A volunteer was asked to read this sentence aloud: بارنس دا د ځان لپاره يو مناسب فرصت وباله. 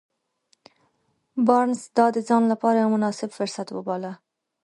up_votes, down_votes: 1, 2